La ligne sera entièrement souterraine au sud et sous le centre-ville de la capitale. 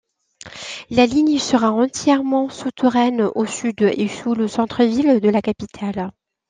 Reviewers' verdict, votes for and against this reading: rejected, 0, 2